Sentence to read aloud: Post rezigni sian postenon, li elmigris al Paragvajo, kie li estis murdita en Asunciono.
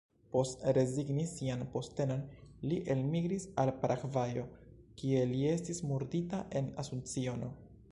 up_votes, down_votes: 1, 2